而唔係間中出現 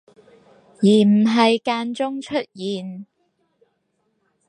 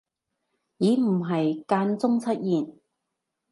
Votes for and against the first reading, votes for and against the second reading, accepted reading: 4, 0, 1, 2, first